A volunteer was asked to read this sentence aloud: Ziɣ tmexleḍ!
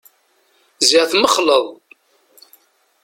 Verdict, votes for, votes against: accepted, 2, 0